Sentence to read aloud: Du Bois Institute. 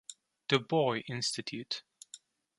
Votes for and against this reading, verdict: 2, 0, accepted